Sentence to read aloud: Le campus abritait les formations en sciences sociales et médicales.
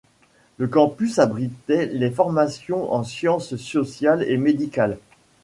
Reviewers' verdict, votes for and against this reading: rejected, 1, 2